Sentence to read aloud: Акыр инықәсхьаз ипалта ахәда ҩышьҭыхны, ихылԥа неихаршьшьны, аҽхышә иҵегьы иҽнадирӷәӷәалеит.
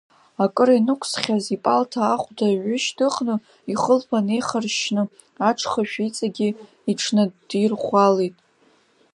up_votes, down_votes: 0, 2